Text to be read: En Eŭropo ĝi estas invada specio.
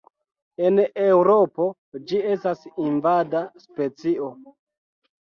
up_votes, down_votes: 2, 0